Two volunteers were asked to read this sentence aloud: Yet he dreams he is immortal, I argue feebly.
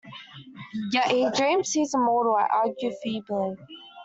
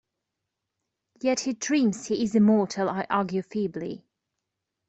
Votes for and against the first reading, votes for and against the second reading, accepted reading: 0, 2, 2, 0, second